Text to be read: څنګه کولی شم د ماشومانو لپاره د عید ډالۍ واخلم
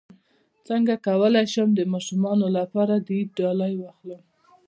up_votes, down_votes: 2, 0